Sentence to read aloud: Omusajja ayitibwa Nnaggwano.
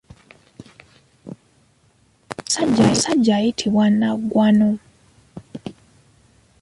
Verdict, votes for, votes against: accepted, 2, 0